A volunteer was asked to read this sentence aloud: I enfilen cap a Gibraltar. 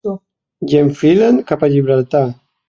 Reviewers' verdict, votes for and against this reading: accepted, 2, 0